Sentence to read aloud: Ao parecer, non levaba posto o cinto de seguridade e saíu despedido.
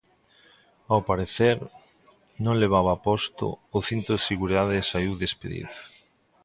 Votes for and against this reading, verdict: 2, 0, accepted